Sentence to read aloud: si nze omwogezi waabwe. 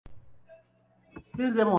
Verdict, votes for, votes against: rejected, 1, 2